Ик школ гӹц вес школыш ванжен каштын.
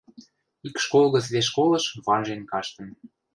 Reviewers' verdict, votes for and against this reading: accepted, 2, 0